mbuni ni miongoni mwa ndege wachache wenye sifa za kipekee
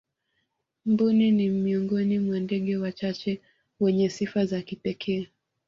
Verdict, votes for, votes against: accepted, 2, 0